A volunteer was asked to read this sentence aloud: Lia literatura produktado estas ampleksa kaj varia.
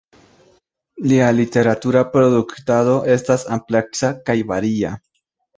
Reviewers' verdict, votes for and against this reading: accepted, 2, 1